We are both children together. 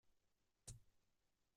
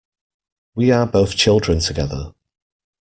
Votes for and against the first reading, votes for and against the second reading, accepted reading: 0, 2, 2, 0, second